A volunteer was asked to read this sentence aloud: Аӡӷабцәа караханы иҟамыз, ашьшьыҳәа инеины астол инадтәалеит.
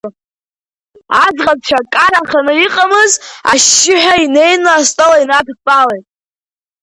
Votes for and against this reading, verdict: 2, 1, accepted